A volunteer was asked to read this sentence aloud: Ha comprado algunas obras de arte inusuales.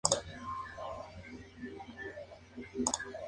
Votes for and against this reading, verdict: 0, 2, rejected